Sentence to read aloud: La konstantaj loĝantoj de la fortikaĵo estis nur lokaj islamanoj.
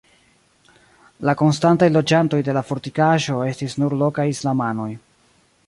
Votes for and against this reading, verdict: 1, 2, rejected